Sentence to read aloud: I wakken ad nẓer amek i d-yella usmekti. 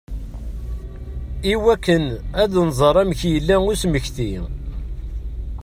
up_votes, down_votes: 2, 1